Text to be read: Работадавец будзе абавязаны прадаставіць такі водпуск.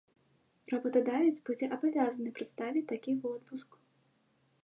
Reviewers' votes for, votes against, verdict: 1, 2, rejected